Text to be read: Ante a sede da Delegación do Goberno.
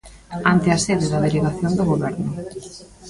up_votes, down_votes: 2, 1